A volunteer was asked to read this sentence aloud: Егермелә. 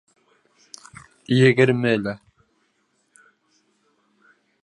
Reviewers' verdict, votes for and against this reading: rejected, 1, 2